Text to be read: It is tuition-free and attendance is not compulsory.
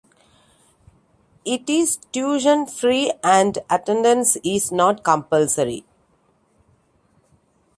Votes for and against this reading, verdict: 2, 1, accepted